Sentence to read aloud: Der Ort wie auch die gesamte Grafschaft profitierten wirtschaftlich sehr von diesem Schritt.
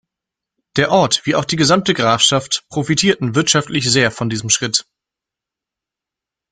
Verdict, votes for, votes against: accepted, 2, 0